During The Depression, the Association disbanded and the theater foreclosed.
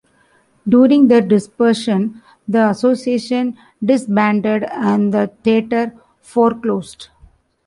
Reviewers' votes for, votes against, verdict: 1, 2, rejected